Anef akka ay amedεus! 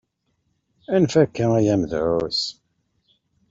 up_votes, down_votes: 2, 0